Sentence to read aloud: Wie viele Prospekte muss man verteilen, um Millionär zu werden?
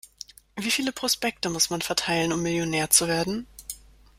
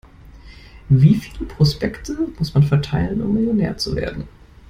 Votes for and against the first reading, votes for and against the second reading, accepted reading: 2, 0, 1, 2, first